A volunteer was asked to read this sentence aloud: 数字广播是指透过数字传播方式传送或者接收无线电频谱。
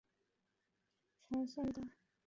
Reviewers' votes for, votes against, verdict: 0, 2, rejected